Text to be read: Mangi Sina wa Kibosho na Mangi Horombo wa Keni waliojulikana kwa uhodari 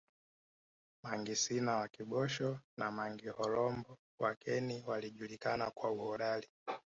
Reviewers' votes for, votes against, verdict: 2, 1, accepted